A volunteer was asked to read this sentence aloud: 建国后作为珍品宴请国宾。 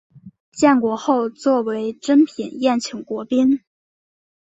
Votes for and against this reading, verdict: 3, 1, accepted